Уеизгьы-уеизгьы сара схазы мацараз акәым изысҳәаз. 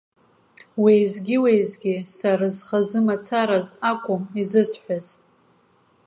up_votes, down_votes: 2, 0